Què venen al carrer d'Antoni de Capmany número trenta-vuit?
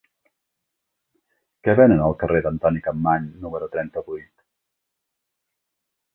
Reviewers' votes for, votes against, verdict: 0, 2, rejected